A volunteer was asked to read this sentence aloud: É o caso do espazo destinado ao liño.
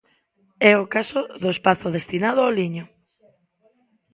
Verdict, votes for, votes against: rejected, 1, 2